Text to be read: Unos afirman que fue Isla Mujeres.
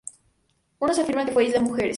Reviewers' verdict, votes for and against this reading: accepted, 2, 0